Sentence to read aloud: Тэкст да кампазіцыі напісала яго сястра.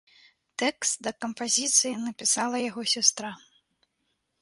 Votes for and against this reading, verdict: 2, 0, accepted